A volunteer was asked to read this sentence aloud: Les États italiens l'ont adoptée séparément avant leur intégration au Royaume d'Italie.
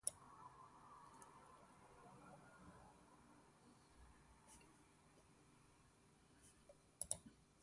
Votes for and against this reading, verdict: 0, 2, rejected